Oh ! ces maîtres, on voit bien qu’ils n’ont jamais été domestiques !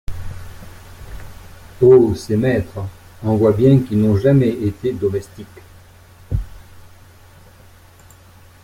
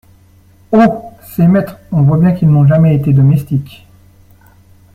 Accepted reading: second